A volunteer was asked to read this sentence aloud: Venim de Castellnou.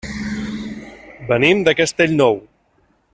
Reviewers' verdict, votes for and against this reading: accepted, 3, 0